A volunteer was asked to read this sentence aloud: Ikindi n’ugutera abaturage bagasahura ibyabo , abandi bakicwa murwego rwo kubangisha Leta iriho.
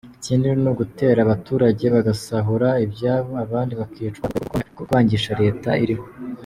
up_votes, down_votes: 1, 2